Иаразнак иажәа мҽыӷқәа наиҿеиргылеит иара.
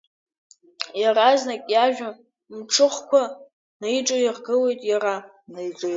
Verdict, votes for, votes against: rejected, 0, 2